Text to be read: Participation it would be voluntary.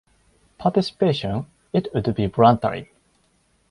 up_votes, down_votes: 0, 4